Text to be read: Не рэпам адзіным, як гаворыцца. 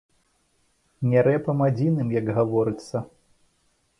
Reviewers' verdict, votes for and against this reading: accepted, 2, 0